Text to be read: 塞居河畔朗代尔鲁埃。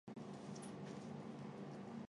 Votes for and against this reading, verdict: 0, 3, rejected